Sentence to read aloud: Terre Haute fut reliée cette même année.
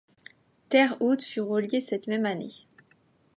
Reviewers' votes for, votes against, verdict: 2, 0, accepted